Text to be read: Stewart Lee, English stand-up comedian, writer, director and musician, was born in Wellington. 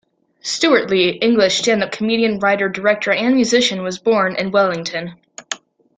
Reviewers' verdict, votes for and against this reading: accepted, 2, 0